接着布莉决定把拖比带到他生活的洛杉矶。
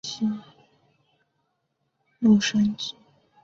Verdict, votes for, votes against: rejected, 0, 5